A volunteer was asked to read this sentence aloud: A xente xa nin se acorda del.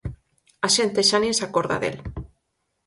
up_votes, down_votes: 4, 0